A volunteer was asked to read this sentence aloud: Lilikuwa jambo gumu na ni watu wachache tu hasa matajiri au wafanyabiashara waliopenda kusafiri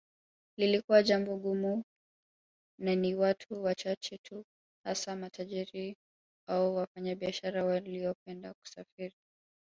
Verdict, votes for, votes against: rejected, 1, 3